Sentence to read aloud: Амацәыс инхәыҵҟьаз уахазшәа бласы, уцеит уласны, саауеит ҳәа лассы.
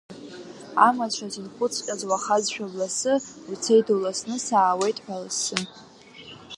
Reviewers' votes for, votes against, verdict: 2, 1, accepted